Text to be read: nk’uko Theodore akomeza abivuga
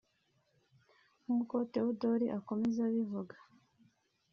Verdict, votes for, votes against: accepted, 2, 0